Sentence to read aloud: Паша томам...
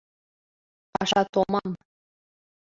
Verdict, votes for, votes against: accepted, 2, 1